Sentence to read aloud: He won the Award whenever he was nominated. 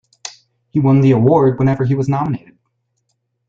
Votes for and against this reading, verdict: 2, 0, accepted